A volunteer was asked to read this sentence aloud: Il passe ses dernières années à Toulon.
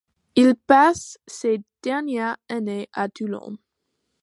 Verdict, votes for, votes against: accepted, 2, 1